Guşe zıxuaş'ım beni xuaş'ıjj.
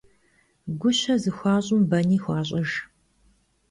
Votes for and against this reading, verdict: 2, 0, accepted